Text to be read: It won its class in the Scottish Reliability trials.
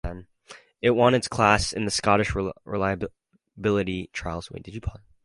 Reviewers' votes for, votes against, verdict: 0, 4, rejected